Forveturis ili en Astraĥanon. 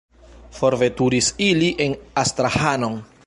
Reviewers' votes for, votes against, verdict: 0, 2, rejected